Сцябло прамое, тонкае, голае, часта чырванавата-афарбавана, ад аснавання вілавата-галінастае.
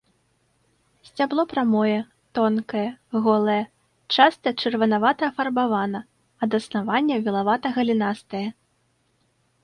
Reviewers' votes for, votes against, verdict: 2, 0, accepted